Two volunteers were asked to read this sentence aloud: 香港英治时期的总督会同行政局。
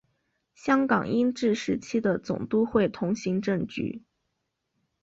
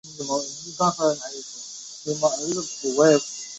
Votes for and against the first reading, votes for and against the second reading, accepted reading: 3, 0, 0, 3, first